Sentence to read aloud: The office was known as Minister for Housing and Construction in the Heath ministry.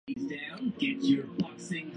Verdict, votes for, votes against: rejected, 0, 2